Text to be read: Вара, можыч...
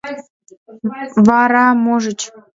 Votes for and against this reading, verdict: 1, 2, rejected